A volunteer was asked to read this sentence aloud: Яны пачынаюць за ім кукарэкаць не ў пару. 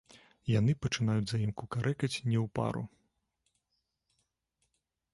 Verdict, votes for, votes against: rejected, 1, 2